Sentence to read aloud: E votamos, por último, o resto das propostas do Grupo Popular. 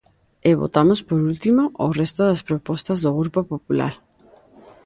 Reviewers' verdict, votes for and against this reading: accepted, 2, 0